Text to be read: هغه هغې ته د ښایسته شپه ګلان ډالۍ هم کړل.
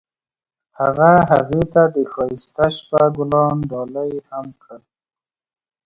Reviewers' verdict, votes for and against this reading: accepted, 2, 0